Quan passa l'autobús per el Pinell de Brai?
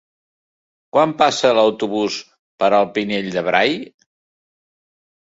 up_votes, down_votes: 2, 0